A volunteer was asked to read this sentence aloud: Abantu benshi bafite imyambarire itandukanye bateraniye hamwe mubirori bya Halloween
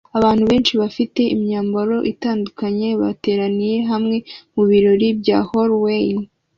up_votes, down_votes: 1, 2